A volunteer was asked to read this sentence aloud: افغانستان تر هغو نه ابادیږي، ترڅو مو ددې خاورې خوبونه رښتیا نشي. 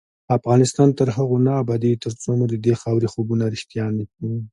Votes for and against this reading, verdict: 2, 0, accepted